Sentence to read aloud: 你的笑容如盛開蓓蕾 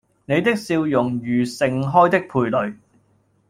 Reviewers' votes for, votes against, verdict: 0, 2, rejected